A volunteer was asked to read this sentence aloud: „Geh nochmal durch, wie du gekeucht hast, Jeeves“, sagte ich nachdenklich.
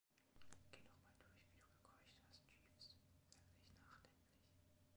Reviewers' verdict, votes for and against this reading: rejected, 1, 2